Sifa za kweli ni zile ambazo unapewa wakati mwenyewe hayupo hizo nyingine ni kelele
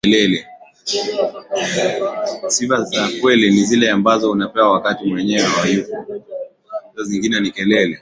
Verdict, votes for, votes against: rejected, 6, 6